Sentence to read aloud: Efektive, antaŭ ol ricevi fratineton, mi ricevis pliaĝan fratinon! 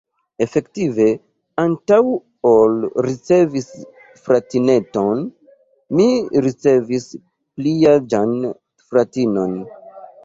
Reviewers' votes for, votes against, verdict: 1, 2, rejected